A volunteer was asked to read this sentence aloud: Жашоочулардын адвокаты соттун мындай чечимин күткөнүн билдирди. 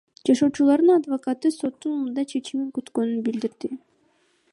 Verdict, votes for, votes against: rejected, 0, 2